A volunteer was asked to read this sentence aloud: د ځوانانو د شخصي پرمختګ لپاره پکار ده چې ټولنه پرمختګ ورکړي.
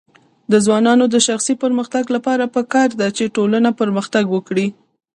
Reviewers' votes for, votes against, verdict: 2, 1, accepted